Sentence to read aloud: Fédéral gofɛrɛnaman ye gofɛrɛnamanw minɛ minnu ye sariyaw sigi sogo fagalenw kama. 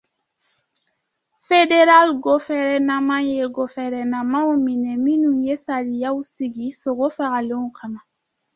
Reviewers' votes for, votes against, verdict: 2, 1, accepted